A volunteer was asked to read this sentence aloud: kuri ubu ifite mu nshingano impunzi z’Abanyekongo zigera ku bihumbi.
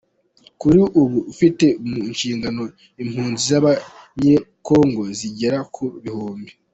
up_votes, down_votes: 2, 1